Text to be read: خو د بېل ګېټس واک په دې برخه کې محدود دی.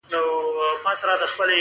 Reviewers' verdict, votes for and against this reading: rejected, 1, 2